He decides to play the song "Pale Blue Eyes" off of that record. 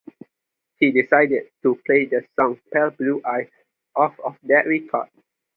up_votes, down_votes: 2, 0